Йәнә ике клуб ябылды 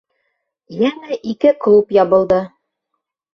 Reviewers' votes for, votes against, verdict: 0, 2, rejected